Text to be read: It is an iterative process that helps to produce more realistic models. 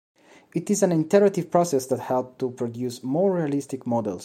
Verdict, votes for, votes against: rejected, 1, 2